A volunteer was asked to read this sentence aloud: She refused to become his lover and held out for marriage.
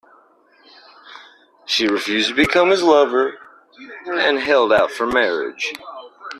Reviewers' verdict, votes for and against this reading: accepted, 2, 0